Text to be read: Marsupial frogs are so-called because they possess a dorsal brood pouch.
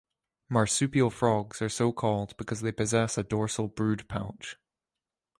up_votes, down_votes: 2, 0